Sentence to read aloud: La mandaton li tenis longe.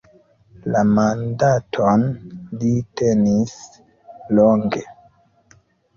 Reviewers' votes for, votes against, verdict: 2, 1, accepted